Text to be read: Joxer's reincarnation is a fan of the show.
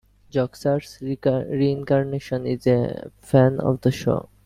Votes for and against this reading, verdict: 1, 2, rejected